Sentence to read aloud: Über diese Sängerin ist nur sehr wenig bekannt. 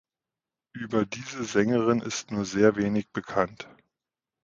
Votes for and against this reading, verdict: 2, 0, accepted